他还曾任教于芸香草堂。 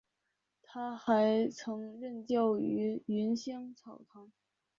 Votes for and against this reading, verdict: 1, 2, rejected